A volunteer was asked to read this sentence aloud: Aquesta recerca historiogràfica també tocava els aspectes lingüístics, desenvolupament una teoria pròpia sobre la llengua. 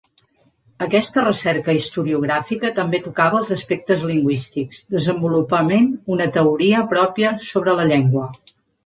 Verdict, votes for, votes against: accepted, 3, 0